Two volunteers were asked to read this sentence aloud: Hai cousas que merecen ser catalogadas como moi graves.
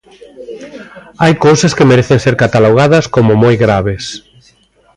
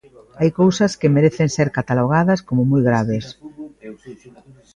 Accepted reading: first